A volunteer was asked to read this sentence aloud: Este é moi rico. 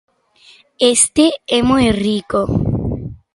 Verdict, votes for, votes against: accepted, 2, 0